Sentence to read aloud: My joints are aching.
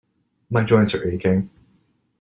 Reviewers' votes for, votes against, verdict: 2, 0, accepted